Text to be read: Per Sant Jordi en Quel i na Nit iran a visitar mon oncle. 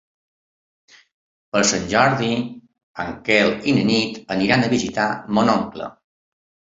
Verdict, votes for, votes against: rejected, 1, 2